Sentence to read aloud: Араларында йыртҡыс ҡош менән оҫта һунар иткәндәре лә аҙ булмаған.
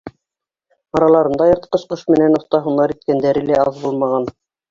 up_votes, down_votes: 1, 2